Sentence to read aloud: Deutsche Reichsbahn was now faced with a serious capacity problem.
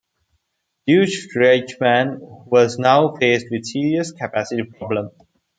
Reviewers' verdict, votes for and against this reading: rejected, 0, 2